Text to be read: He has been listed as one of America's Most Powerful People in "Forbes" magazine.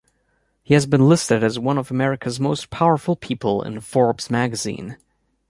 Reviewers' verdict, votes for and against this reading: accepted, 2, 1